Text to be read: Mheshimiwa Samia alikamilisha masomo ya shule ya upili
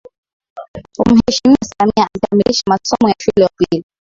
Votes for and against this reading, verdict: 2, 0, accepted